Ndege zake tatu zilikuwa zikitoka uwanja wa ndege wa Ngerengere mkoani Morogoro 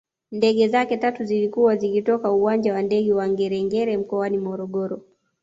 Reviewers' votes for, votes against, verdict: 1, 2, rejected